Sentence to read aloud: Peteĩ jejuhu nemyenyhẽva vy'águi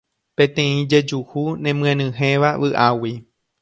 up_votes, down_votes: 2, 0